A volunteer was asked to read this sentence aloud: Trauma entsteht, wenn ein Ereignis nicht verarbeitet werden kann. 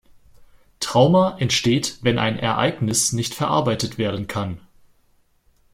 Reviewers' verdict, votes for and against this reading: accepted, 2, 0